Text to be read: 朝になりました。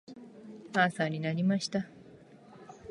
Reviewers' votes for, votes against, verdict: 2, 0, accepted